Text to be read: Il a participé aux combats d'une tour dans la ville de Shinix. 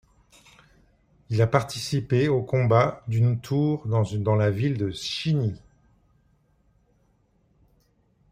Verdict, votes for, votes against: accepted, 2, 0